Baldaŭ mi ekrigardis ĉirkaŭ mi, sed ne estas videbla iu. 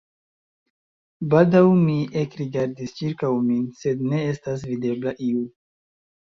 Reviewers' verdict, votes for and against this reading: accepted, 2, 0